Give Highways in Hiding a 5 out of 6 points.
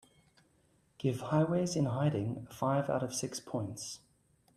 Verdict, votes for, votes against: rejected, 0, 2